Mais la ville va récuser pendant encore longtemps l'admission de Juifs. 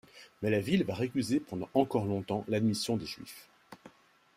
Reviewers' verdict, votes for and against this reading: rejected, 0, 2